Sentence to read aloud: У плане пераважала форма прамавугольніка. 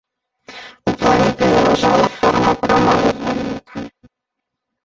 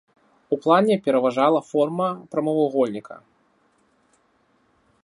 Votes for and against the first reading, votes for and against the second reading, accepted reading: 0, 2, 2, 0, second